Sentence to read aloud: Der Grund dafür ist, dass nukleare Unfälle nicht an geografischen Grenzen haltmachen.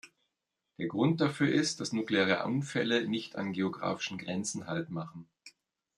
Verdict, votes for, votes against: accepted, 2, 1